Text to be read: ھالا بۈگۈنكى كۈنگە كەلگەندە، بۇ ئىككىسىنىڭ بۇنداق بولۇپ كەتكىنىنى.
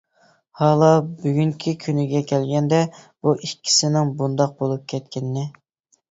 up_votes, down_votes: 2, 0